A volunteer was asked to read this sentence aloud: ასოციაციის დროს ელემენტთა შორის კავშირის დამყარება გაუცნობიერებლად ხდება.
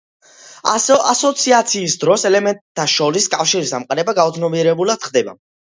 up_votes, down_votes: 2, 0